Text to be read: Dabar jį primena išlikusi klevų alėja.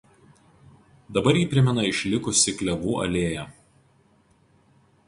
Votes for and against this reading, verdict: 0, 2, rejected